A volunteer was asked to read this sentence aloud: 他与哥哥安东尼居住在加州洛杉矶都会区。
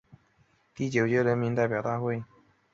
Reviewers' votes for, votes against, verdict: 0, 2, rejected